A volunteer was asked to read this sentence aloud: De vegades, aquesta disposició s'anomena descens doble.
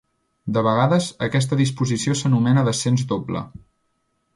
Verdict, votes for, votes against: accepted, 2, 0